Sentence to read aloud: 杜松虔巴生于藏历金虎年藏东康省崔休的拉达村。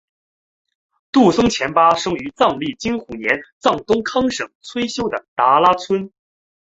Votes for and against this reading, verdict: 3, 1, accepted